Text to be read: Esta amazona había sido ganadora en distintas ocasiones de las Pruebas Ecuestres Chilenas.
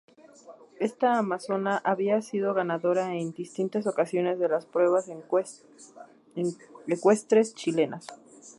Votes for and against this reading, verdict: 0, 2, rejected